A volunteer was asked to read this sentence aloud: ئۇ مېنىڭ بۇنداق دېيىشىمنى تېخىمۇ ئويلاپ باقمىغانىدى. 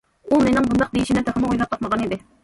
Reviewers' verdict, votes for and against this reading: rejected, 1, 2